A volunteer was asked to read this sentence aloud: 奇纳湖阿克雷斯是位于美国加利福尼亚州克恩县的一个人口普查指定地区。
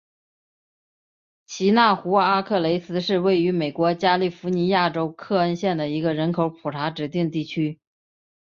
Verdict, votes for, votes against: accepted, 2, 1